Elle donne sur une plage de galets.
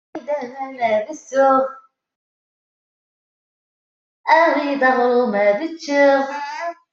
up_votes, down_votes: 0, 2